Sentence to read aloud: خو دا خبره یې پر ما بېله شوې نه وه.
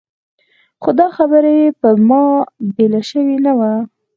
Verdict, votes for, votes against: accepted, 4, 0